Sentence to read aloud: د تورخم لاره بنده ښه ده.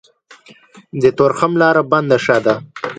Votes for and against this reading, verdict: 2, 0, accepted